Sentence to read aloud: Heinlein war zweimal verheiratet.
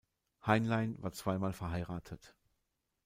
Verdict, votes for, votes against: accepted, 2, 0